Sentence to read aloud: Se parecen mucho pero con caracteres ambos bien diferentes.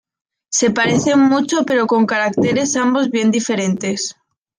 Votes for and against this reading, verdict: 2, 0, accepted